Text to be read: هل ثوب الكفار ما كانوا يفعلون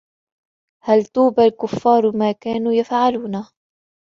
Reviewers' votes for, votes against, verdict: 2, 3, rejected